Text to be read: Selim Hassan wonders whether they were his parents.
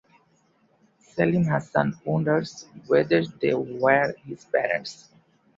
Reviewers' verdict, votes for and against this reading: accepted, 2, 1